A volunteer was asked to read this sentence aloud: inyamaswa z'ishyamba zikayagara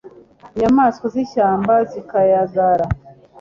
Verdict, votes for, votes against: accepted, 2, 0